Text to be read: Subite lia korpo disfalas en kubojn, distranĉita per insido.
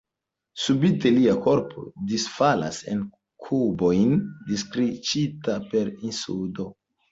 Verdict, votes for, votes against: rejected, 1, 2